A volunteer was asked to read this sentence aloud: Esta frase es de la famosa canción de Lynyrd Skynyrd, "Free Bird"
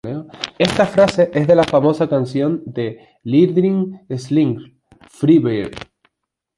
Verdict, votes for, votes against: accepted, 2, 0